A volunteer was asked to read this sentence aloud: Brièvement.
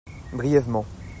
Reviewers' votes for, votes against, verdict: 2, 0, accepted